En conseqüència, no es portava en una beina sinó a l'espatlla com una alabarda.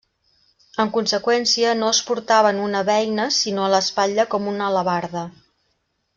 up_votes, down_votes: 2, 0